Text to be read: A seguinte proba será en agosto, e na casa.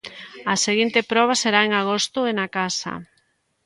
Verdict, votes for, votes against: accepted, 2, 0